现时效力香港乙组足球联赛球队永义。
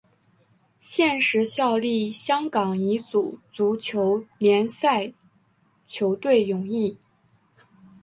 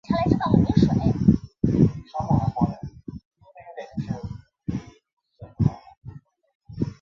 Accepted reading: first